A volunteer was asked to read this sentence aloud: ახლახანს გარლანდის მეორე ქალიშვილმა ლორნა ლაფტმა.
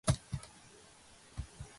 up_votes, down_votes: 0, 2